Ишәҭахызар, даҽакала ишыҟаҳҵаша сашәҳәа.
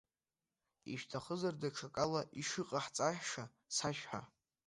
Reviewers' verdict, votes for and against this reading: accepted, 2, 1